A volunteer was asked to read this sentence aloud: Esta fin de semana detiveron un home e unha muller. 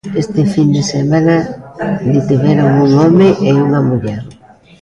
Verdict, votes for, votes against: rejected, 0, 2